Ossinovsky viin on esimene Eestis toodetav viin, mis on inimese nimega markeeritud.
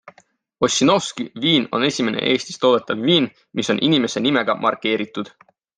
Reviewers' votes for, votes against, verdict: 2, 0, accepted